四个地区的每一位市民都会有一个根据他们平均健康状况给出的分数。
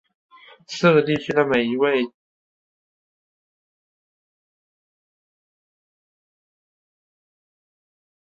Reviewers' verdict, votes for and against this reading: rejected, 0, 4